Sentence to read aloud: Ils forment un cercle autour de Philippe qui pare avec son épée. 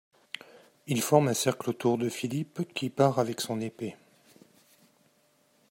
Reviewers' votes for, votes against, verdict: 2, 0, accepted